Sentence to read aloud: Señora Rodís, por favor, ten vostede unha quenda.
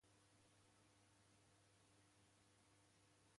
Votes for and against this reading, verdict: 0, 3, rejected